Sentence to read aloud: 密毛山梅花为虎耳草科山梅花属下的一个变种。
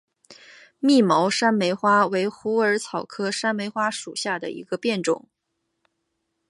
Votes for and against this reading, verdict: 2, 0, accepted